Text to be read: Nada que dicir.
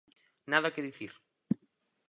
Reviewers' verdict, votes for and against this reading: accepted, 4, 0